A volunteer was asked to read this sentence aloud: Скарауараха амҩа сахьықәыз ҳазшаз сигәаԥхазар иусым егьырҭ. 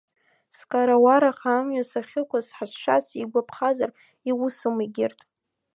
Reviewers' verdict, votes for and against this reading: accepted, 2, 0